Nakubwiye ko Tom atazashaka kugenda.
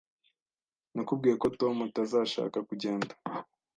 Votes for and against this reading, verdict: 2, 0, accepted